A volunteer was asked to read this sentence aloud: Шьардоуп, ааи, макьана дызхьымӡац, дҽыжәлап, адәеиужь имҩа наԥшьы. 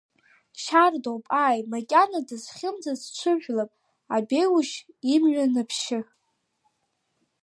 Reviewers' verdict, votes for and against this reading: accepted, 2, 0